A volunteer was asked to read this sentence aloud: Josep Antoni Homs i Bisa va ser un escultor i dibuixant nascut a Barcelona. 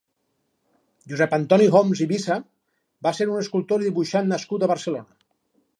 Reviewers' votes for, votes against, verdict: 2, 2, rejected